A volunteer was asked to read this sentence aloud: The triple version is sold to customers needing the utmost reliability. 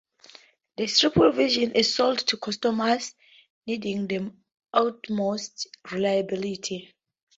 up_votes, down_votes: 2, 0